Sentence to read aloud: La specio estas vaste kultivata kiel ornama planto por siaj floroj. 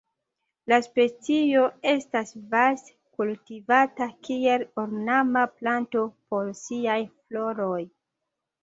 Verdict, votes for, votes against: rejected, 1, 2